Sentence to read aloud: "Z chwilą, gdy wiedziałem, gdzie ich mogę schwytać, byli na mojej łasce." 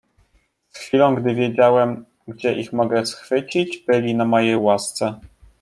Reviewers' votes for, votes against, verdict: 0, 2, rejected